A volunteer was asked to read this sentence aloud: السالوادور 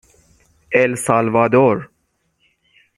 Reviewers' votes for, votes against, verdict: 6, 0, accepted